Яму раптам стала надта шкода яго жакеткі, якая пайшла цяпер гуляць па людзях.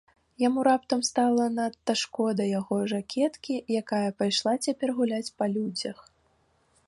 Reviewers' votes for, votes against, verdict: 2, 0, accepted